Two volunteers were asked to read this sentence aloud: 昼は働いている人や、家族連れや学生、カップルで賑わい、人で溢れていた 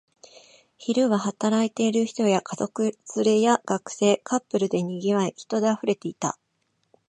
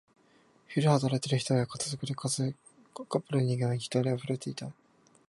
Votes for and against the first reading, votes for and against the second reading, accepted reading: 2, 0, 0, 4, first